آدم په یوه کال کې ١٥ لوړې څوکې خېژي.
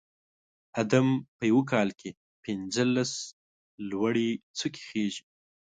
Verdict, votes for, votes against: rejected, 0, 2